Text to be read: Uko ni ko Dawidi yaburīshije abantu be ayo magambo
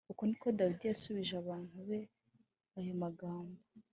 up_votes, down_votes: 3, 0